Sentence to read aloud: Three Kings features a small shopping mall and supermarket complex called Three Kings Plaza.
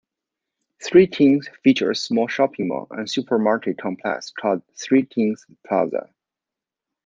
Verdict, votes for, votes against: rejected, 1, 2